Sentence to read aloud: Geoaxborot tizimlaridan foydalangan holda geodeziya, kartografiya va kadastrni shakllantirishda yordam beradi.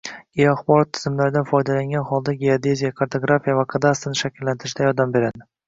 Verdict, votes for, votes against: accepted, 2, 1